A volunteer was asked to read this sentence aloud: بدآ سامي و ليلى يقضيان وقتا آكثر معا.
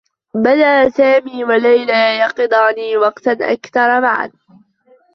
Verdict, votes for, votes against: rejected, 0, 2